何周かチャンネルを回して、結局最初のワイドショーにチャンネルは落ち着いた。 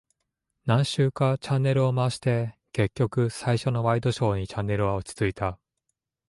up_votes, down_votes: 2, 0